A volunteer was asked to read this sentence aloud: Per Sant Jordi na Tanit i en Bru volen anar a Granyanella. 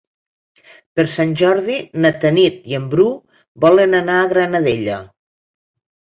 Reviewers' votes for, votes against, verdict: 1, 2, rejected